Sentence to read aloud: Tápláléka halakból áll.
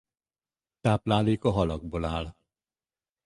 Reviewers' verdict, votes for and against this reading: accepted, 4, 0